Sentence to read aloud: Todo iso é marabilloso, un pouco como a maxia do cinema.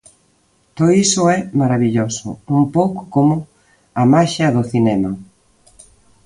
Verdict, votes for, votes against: accepted, 2, 0